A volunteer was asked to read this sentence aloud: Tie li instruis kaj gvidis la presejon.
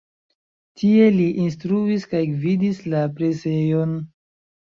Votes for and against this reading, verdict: 2, 0, accepted